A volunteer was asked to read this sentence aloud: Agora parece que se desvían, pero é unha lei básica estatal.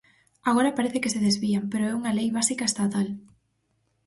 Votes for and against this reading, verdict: 4, 0, accepted